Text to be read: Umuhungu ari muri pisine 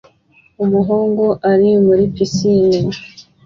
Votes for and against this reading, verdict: 2, 0, accepted